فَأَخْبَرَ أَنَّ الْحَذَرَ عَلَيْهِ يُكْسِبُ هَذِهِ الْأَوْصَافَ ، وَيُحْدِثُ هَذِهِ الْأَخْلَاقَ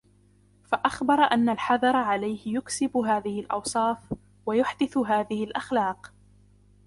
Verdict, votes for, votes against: accepted, 2, 0